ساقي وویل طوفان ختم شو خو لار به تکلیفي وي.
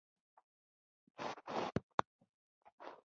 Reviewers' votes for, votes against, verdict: 0, 2, rejected